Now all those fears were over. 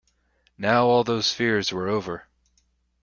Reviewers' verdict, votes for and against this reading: accepted, 2, 0